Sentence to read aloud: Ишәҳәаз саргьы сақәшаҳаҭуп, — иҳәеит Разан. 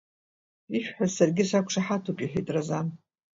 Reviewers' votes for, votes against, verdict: 2, 0, accepted